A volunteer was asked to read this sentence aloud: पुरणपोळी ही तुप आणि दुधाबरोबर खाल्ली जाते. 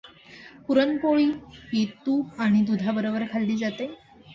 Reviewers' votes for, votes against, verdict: 2, 0, accepted